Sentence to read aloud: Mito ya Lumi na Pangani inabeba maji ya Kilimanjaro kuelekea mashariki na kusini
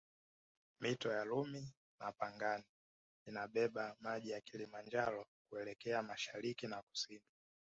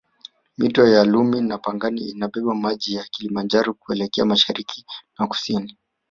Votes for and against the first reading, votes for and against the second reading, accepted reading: 2, 1, 1, 2, first